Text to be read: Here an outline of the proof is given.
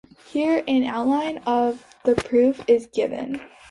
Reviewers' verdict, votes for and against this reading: accepted, 2, 0